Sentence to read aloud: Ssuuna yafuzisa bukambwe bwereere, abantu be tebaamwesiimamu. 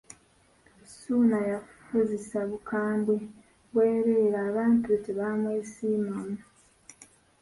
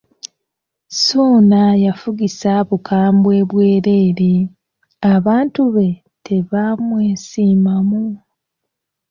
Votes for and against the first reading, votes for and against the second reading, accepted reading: 0, 2, 2, 1, second